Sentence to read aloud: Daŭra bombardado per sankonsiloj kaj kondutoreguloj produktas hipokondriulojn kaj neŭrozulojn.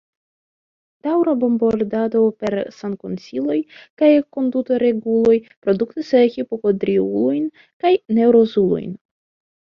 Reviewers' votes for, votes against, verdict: 2, 1, accepted